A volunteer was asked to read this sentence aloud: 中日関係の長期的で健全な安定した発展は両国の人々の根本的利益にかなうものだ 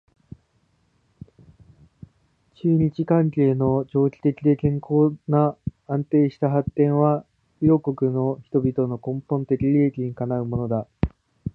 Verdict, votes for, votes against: rejected, 0, 2